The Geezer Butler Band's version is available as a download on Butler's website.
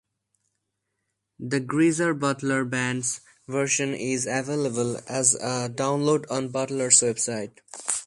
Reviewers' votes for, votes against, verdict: 0, 2, rejected